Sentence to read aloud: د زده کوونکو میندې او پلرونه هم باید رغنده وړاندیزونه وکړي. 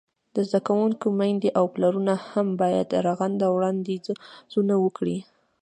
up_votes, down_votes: 2, 0